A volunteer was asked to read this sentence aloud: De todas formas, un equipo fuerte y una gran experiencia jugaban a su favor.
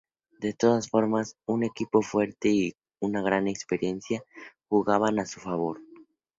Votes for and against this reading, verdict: 4, 0, accepted